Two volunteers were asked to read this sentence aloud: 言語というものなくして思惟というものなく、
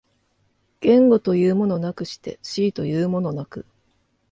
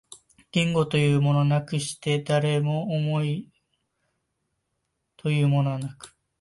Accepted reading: first